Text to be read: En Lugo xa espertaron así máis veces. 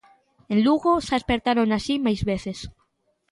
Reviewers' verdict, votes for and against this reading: accepted, 2, 0